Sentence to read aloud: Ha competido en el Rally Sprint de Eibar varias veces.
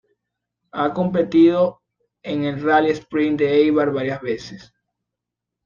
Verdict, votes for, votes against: accepted, 2, 0